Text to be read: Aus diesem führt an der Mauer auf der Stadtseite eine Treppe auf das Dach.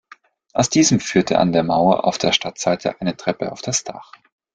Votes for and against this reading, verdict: 1, 2, rejected